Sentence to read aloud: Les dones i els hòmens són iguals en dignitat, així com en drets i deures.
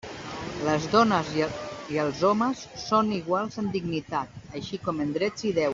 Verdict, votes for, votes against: rejected, 0, 2